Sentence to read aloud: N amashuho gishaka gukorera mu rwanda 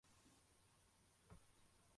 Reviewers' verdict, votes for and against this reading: rejected, 0, 2